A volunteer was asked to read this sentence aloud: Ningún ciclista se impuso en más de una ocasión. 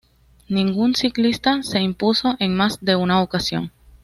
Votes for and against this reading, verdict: 2, 1, accepted